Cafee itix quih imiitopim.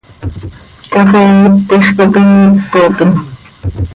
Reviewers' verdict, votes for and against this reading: rejected, 1, 2